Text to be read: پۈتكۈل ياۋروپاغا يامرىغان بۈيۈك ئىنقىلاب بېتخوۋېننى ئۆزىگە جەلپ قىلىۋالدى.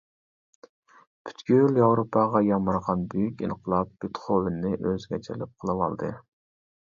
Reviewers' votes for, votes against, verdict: 1, 2, rejected